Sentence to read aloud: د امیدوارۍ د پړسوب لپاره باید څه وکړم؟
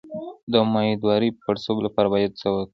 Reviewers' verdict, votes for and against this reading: accepted, 2, 1